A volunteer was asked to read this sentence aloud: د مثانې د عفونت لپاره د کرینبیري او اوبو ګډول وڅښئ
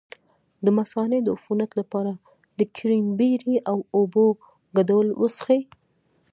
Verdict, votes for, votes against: rejected, 0, 2